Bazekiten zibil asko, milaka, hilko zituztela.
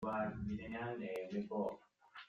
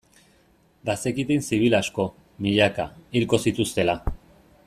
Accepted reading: second